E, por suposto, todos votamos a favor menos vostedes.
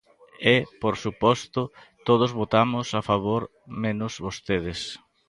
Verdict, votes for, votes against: accepted, 2, 0